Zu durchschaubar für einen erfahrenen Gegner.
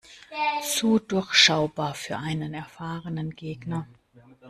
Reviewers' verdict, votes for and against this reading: rejected, 0, 2